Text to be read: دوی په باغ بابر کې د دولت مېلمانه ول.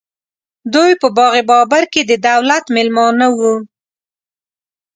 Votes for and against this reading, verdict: 2, 1, accepted